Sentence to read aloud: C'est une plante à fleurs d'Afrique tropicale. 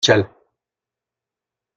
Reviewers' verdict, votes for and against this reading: rejected, 0, 2